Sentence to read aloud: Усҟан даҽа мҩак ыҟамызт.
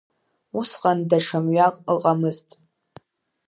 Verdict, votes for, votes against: accepted, 2, 0